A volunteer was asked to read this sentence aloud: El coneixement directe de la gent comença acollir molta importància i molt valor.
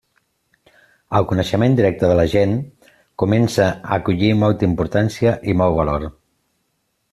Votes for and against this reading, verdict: 2, 0, accepted